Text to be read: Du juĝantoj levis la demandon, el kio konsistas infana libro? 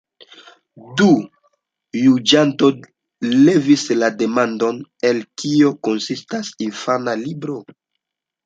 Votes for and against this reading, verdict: 0, 2, rejected